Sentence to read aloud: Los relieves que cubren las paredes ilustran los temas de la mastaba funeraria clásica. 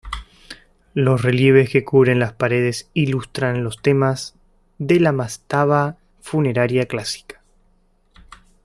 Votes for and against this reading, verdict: 1, 2, rejected